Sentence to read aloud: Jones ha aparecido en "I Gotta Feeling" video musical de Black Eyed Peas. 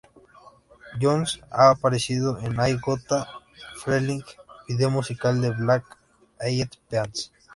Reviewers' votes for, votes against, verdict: 0, 2, rejected